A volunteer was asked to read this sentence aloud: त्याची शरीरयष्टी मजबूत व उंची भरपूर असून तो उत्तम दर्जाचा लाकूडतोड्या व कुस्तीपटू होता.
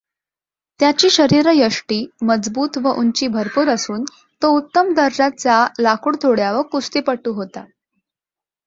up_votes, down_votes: 2, 0